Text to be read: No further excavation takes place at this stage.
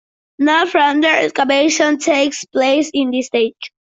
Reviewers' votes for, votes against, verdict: 0, 2, rejected